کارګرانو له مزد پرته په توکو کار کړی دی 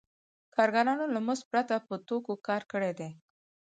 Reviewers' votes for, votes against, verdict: 4, 2, accepted